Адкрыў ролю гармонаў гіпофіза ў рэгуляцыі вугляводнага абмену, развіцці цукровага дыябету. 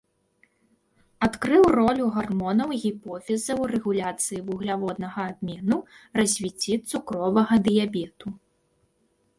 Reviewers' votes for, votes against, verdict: 2, 0, accepted